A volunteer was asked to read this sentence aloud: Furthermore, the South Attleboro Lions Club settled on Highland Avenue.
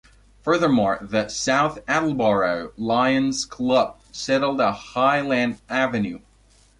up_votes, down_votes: 2, 1